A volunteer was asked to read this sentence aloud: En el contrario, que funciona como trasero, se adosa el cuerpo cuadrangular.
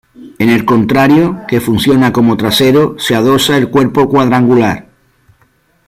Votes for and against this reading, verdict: 2, 0, accepted